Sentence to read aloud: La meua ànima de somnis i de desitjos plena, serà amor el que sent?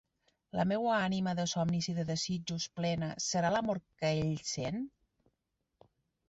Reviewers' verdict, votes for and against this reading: rejected, 0, 2